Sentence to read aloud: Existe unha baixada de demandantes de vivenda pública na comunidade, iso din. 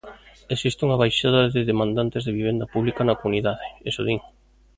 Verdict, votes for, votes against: rejected, 1, 2